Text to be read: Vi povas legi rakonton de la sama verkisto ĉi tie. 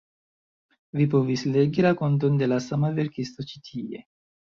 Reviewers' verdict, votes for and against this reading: rejected, 1, 2